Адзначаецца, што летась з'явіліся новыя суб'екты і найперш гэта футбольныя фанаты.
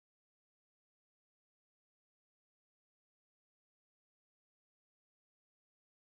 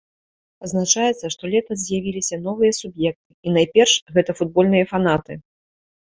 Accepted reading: second